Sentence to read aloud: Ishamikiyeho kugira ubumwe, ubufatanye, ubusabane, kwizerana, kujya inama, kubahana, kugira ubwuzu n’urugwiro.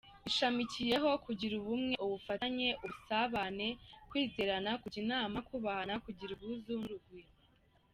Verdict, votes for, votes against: accepted, 2, 1